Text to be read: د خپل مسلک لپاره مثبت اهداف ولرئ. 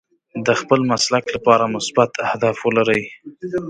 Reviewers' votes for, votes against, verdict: 2, 1, accepted